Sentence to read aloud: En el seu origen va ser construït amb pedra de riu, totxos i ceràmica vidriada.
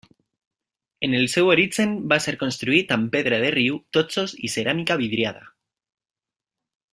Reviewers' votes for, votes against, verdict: 2, 0, accepted